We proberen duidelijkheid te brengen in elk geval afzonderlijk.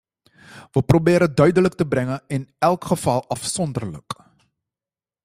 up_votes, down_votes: 0, 2